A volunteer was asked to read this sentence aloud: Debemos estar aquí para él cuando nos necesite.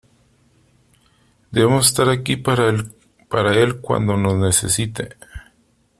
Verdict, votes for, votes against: rejected, 0, 2